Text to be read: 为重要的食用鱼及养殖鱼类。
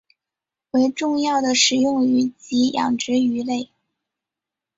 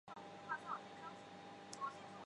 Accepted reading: first